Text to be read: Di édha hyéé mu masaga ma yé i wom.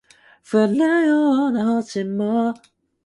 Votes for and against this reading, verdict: 0, 2, rejected